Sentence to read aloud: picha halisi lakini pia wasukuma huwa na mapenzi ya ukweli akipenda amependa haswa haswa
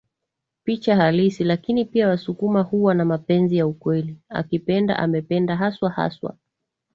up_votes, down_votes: 0, 4